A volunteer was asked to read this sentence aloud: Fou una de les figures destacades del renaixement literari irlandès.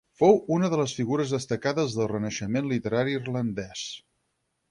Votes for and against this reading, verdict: 8, 0, accepted